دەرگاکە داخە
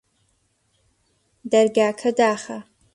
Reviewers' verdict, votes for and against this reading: accepted, 2, 1